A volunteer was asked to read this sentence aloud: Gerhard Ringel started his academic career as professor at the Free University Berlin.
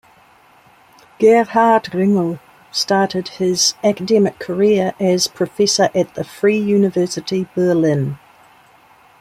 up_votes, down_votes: 2, 0